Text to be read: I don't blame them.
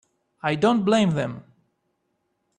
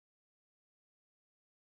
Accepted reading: first